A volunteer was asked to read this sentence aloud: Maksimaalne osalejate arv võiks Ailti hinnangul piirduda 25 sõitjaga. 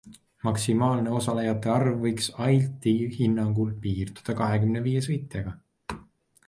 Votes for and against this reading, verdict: 0, 2, rejected